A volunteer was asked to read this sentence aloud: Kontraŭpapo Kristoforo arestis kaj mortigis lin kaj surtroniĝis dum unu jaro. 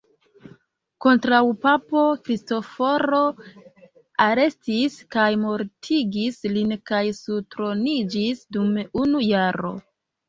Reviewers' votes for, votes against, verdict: 2, 0, accepted